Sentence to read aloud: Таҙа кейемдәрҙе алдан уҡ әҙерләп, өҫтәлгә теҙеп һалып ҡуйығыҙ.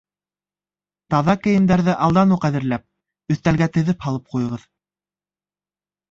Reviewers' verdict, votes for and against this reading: accepted, 2, 0